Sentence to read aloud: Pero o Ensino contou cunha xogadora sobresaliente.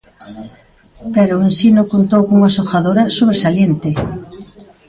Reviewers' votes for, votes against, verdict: 0, 2, rejected